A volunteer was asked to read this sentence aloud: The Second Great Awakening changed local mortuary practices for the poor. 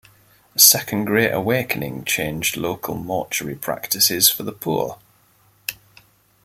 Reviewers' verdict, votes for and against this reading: accepted, 2, 0